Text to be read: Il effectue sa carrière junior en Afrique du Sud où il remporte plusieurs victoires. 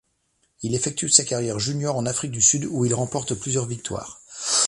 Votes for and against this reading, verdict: 2, 0, accepted